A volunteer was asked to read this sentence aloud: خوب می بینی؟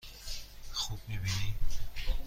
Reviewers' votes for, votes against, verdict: 2, 0, accepted